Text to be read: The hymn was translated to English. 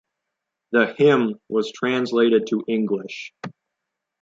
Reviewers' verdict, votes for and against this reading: accepted, 2, 0